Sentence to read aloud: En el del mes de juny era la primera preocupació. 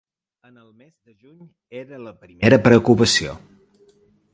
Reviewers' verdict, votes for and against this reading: rejected, 0, 2